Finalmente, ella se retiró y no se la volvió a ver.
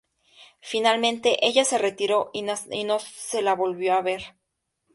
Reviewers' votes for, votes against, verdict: 2, 0, accepted